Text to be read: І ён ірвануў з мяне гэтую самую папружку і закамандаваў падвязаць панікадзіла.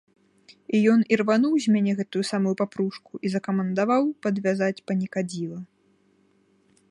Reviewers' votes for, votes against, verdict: 1, 2, rejected